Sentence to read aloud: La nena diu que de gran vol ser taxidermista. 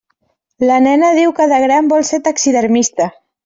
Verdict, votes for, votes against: accepted, 3, 0